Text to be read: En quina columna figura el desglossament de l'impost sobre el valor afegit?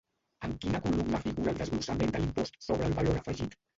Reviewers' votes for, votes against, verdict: 1, 2, rejected